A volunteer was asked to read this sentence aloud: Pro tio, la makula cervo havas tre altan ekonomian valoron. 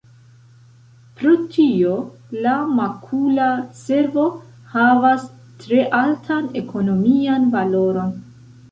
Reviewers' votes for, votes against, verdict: 2, 0, accepted